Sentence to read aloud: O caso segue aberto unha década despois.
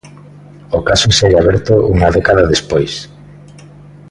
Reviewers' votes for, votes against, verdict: 2, 0, accepted